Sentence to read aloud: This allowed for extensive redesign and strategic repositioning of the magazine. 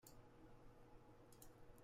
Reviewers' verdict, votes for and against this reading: rejected, 0, 2